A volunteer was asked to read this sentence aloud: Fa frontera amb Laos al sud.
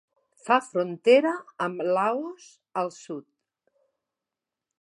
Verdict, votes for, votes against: accepted, 3, 0